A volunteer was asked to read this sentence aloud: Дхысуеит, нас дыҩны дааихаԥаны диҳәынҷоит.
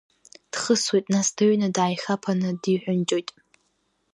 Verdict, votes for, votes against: rejected, 1, 2